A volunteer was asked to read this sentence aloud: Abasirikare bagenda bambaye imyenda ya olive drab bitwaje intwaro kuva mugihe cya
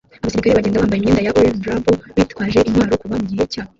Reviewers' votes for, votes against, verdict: 1, 2, rejected